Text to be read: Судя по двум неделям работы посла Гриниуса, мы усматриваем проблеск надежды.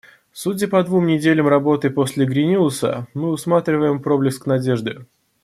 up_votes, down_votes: 0, 2